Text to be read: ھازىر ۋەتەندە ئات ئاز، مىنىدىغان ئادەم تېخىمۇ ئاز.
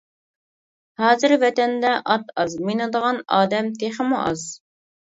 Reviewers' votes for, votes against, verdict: 2, 0, accepted